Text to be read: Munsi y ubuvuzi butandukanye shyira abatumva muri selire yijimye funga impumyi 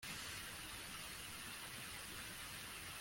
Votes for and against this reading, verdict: 0, 2, rejected